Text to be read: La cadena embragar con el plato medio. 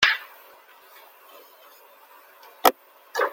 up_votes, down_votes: 0, 2